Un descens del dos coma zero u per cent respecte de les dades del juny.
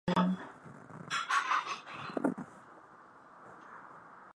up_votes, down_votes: 0, 2